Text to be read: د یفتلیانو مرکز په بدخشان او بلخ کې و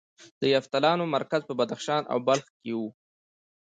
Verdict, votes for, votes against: accepted, 2, 1